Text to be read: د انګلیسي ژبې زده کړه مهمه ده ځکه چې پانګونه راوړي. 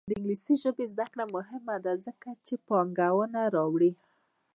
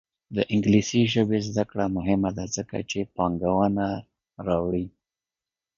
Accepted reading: second